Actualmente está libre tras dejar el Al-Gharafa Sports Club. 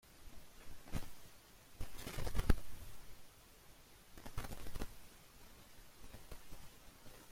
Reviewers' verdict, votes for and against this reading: rejected, 0, 2